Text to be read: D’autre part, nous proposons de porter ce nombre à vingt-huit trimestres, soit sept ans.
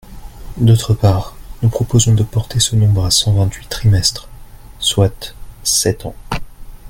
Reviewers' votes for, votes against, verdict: 1, 2, rejected